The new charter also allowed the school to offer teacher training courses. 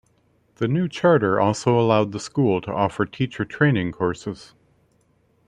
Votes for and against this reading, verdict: 2, 0, accepted